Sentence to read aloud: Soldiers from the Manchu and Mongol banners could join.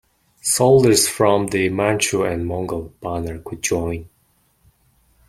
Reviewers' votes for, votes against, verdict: 1, 2, rejected